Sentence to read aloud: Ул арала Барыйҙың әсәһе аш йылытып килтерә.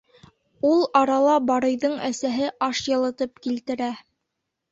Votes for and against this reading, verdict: 2, 0, accepted